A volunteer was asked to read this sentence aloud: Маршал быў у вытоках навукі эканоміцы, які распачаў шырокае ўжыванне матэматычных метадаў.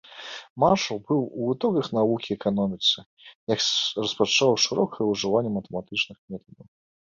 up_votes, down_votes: 0, 2